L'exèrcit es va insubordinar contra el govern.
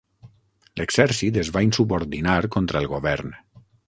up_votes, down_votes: 3, 6